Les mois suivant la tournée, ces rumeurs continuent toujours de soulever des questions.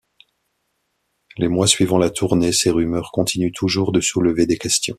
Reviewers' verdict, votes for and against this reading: accepted, 2, 1